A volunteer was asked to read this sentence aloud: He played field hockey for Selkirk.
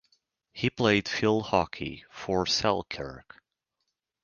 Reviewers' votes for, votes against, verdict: 4, 0, accepted